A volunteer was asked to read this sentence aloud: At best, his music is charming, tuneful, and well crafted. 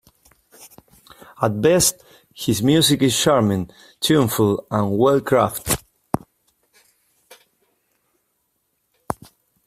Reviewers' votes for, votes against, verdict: 1, 2, rejected